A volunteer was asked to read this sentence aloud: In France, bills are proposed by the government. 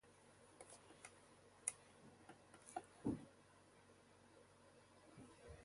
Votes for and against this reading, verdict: 0, 2, rejected